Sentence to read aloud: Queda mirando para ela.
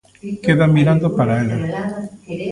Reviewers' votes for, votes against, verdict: 0, 2, rejected